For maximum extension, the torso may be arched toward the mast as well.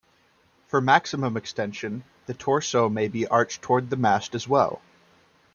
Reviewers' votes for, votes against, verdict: 2, 0, accepted